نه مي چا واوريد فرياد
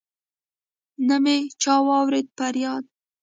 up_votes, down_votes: 0, 2